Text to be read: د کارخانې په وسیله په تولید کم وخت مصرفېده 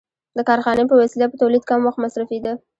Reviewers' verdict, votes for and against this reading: rejected, 1, 2